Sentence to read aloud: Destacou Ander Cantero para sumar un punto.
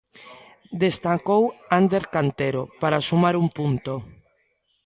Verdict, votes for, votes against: rejected, 0, 2